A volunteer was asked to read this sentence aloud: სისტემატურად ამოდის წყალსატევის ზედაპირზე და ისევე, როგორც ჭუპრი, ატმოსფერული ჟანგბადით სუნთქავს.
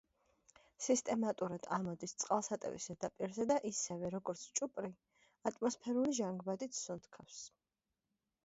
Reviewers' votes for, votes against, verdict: 2, 0, accepted